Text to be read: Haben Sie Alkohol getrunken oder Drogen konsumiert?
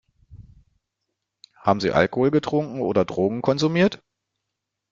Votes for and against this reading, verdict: 1, 2, rejected